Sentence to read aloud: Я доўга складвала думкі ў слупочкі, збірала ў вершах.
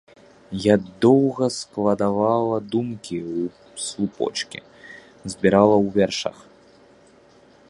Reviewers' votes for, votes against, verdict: 0, 3, rejected